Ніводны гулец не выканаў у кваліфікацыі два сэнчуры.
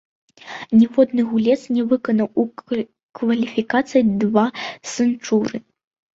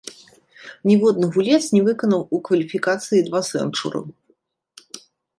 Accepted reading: second